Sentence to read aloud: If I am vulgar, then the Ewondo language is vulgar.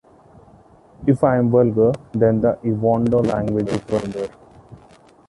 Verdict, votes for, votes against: accepted, 2, 0